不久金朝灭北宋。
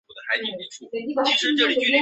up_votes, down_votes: 0, 2